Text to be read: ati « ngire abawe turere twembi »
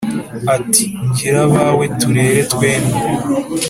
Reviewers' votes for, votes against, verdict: 3, 0, accepted